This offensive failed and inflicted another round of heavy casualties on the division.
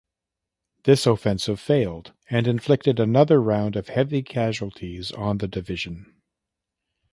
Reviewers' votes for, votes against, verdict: 1, 2, rejected